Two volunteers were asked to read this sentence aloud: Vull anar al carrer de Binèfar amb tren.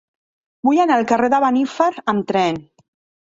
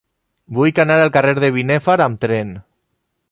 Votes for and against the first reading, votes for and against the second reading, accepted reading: 0, 2, 2, 0, second